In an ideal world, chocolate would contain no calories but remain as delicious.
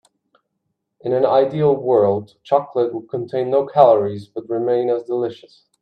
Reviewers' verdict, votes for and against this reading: accepted, 2, 0